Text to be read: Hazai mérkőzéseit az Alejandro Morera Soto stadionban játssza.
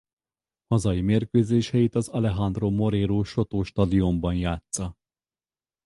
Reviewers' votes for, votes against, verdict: 0, 2, rejected